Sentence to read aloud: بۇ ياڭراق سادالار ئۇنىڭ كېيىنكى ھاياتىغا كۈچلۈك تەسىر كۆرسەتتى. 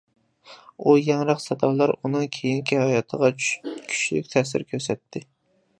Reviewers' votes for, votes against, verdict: 0, 2, rejected